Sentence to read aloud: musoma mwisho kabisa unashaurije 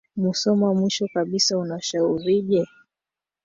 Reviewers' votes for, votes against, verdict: 0, 2, rejected